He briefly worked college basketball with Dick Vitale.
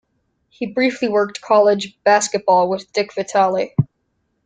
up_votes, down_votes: 2, 0